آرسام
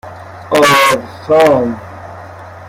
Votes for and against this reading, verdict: 0, 2, rejected